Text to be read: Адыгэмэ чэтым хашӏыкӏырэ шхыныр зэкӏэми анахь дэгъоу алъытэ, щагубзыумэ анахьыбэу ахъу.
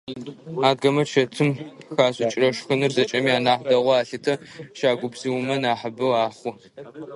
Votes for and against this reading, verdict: 0, 2, rejected